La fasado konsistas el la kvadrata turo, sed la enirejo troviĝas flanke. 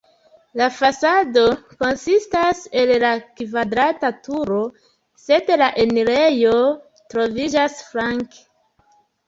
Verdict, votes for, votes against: rejected, 1, 2